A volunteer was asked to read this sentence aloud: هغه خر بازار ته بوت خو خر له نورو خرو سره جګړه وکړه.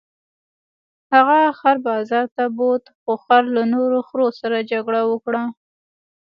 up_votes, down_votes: 2, 0